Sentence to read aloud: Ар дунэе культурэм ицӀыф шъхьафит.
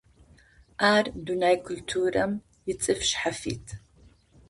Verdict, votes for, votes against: accepted, 2, 0